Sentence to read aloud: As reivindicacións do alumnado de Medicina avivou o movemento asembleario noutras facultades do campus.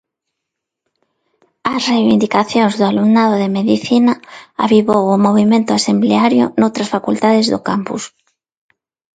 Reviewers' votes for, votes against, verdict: 2, 0, accepted